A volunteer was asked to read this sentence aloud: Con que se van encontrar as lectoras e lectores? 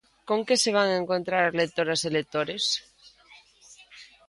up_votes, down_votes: 2, 0